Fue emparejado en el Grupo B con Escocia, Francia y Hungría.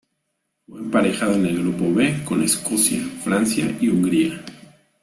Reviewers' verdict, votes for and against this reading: accepted, 2, 0